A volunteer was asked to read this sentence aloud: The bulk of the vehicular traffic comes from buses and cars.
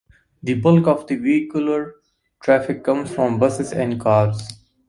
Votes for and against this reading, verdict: 2, 0, accepted